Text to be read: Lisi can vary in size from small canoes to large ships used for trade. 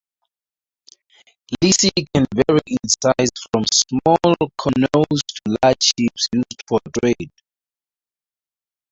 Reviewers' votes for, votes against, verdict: 0, 2, rejected